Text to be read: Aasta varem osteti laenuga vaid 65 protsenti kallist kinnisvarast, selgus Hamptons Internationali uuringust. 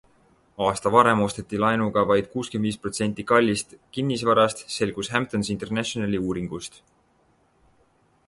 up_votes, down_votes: 0, 2